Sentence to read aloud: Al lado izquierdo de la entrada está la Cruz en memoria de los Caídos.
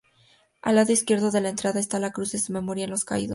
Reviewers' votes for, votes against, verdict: 0, 2, rejected